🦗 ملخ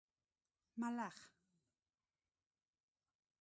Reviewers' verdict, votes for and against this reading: accepted, 2, 0